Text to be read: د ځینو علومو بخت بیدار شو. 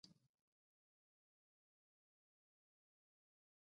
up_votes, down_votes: 0, 2